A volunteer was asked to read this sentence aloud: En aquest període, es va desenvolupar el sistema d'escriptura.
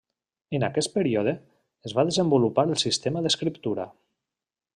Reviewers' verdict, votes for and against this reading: accepted, 3, 0